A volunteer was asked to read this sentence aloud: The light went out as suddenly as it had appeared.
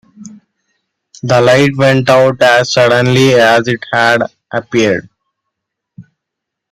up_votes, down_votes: 2, 1